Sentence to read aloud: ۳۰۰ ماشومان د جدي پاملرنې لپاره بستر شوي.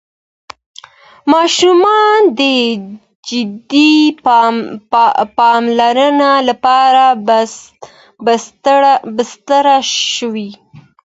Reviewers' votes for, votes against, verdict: 0, 2, rejected